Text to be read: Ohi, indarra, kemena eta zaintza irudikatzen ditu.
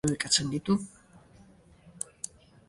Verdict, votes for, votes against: rejected, 0, 2